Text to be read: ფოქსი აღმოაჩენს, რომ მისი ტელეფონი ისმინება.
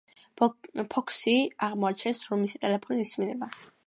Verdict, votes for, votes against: accepted, 2, 0